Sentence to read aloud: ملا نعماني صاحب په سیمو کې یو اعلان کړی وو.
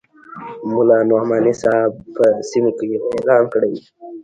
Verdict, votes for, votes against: rejected, 0, 2